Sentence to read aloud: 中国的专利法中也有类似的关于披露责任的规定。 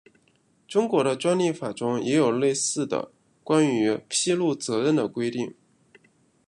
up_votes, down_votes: 2, 0